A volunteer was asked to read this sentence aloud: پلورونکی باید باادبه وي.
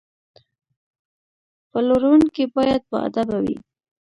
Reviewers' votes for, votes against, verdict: 0, 2, rejected